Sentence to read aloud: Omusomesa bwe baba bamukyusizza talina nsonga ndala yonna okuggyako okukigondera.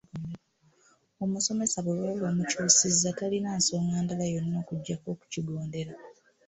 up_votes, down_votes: 2, 0